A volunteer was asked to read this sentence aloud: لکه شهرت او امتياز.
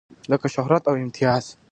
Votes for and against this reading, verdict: 2, 0, accepted